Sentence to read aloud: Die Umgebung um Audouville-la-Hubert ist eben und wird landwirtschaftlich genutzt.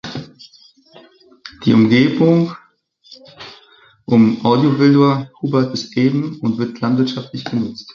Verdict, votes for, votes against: rejected, 1, 2